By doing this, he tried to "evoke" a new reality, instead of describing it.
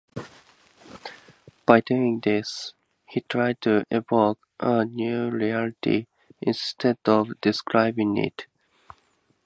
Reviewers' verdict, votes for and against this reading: accepted, 2, 0